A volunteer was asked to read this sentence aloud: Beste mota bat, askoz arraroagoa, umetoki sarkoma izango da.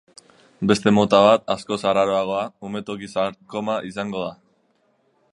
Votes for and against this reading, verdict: 2, 0, accepted